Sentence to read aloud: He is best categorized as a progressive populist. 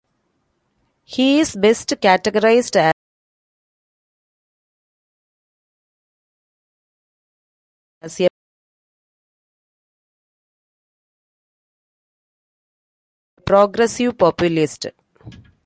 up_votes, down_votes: 0, 2